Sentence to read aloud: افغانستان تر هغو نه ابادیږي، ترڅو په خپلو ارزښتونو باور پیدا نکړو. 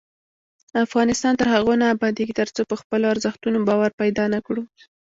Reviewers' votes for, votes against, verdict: 2, 1, accepted